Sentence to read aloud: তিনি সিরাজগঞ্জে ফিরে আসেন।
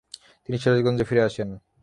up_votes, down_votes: 0, 3